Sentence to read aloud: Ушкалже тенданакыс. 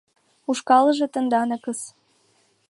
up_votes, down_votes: 2, 1